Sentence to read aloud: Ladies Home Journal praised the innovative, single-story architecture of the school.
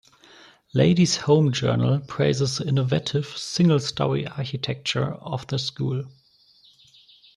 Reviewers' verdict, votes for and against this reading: rejected, 0, 2